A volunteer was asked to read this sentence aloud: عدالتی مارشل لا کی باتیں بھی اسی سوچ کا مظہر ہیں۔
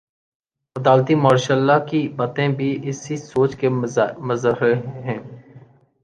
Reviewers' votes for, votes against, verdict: 2, 1, accepted